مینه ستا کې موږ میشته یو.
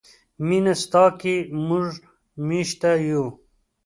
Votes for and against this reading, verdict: 2, 1, accepted